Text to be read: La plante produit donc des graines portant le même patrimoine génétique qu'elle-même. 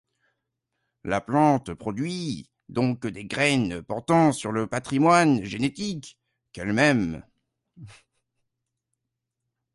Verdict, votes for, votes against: rejected, 1, 2